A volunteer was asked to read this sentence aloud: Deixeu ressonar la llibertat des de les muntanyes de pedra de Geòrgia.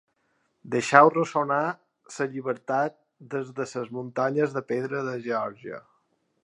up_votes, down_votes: 4, 5